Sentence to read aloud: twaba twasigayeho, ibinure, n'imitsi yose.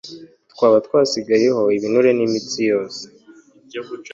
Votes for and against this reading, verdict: 3, 0, accepted